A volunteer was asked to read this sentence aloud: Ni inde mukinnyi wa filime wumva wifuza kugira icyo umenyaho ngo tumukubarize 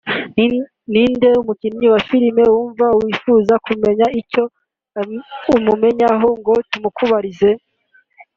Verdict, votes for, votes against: rejected, 1, 2